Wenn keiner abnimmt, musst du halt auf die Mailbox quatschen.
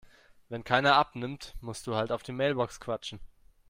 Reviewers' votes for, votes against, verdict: 2, 0, accepted